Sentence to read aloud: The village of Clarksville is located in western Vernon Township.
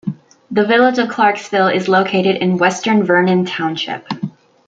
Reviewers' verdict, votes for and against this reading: rejected, 1, 2